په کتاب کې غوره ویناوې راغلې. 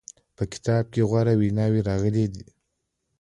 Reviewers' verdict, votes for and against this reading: rejected, 1, 2